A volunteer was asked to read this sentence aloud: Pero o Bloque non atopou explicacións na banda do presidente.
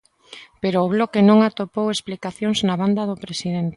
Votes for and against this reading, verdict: 2, 1, accepted